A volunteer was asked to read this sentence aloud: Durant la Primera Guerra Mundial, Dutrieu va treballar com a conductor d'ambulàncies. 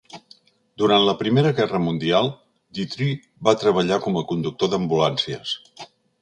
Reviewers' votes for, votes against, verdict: 2, 0, accepted